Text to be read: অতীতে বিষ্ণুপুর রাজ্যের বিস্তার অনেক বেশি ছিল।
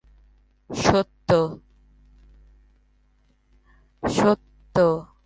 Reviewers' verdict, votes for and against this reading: rejected, 0, 4